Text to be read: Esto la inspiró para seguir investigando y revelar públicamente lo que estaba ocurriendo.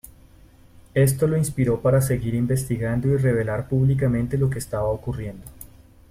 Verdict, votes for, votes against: rejected, 0, 2